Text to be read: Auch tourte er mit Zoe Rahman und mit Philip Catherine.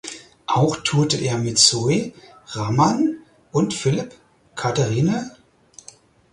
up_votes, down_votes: 2, 4